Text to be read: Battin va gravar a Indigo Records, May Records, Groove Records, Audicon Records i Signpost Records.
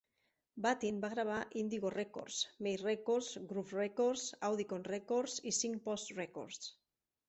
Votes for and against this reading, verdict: 2, 0, accepted